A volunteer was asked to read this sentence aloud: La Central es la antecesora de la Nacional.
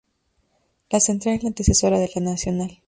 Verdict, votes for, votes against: rejected, 0, 2